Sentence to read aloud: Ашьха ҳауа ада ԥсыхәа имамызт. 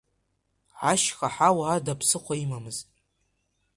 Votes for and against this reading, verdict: 2, 1, accepted